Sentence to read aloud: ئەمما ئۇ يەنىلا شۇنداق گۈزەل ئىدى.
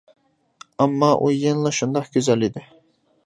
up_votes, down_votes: 2, 0